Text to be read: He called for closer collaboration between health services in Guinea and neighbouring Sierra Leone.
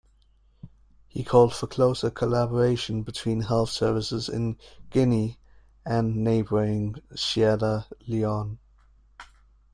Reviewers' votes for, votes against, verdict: 2, 0, accepted